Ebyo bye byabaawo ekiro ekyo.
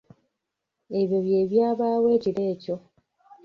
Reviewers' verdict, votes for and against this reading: rejected, 1, 2